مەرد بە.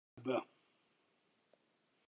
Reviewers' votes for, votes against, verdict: 0, 2, rejected